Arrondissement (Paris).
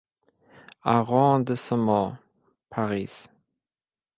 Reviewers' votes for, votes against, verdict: 1, 2, rejected